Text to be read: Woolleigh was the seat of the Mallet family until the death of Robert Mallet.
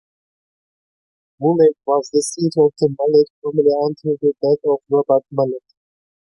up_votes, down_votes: 2, 1